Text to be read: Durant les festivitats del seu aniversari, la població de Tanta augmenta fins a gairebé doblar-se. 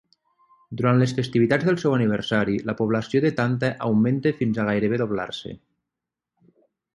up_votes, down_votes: 3, 0